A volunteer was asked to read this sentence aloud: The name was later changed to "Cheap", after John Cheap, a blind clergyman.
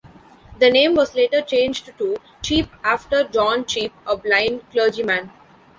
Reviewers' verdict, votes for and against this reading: rejected, 1, 2